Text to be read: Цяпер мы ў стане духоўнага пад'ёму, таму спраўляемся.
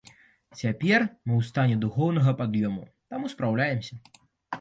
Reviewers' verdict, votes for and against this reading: accepted, 2, 0